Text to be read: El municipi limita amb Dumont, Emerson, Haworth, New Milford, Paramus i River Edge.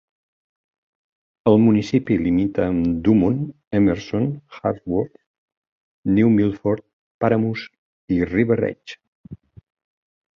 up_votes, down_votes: 2, 0